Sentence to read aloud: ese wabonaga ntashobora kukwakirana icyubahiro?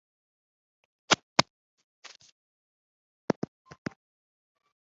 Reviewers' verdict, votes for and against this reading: rejected, 1, 2